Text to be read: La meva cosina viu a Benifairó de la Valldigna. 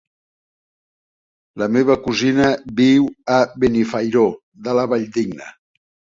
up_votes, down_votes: 3, 1